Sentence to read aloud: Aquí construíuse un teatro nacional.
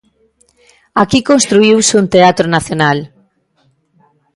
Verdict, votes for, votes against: accepted, 2, 0